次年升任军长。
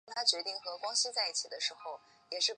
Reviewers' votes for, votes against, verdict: 0, 2, rejected